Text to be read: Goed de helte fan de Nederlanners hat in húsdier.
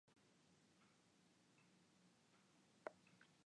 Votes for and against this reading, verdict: 0, 2, rejected